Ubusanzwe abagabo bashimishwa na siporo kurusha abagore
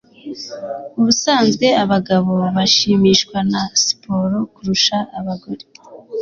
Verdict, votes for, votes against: accepted, 2, 0